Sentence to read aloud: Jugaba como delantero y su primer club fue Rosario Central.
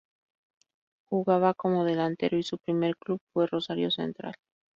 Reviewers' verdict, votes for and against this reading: accepted, 2, 0